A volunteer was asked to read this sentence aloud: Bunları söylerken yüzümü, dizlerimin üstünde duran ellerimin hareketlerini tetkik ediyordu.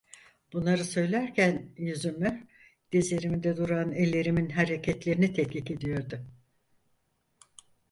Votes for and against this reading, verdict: 2, 4, rejected